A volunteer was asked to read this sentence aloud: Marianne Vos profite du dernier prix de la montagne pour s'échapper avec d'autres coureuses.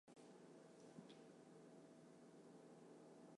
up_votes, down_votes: 0, 2